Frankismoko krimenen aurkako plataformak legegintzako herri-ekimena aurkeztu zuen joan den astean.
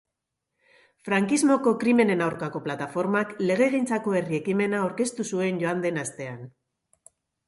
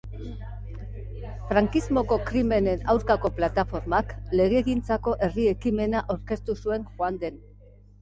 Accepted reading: first